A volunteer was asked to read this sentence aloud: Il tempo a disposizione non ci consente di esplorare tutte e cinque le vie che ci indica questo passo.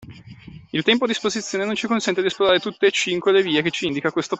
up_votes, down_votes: 0, 2